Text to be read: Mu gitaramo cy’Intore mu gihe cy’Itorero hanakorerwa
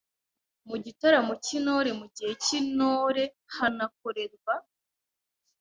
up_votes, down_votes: 0, 2